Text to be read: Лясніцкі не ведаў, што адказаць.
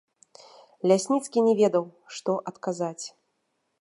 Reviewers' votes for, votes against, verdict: 2, 0, accepted